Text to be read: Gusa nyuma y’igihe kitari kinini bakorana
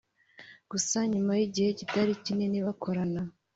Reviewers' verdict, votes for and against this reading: accepted, 4, 0